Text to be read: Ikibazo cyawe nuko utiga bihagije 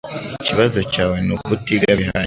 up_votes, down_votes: 0, 2